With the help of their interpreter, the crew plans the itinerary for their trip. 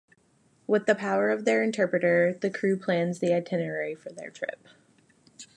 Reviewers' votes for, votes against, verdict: 0, 2, rejected